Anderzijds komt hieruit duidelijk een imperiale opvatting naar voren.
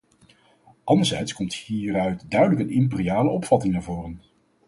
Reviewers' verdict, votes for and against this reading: rejected, 2, 2